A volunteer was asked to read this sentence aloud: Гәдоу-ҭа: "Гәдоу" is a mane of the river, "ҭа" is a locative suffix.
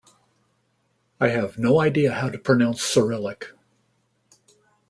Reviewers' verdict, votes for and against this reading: rejected, 0, 2